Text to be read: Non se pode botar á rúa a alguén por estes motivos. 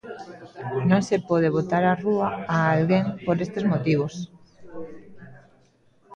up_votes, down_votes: 0, 2